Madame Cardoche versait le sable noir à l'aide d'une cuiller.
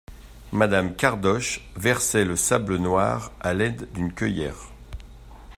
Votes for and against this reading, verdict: 0, 2, rejected